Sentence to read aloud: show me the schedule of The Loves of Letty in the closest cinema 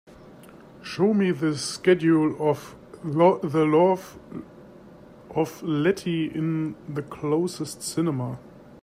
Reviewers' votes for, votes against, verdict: 0, 2, rejected